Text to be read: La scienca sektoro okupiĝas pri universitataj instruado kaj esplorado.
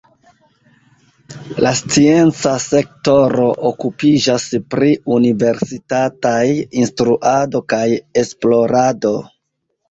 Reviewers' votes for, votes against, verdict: 1, 2, rejected